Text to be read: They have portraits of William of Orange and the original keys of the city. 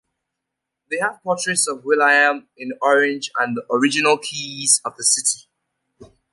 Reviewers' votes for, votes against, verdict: 2, 0, accepted